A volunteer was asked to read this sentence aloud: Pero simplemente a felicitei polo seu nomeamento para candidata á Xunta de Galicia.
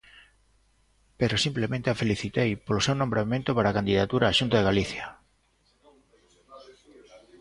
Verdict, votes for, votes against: rejected, 0, 2